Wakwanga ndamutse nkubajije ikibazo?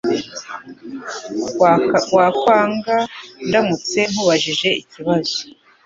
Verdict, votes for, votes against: rejected, 1, 3